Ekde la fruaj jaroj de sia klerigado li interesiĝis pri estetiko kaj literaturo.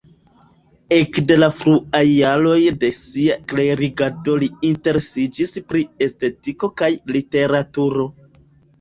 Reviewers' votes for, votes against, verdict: 0, 2, rejected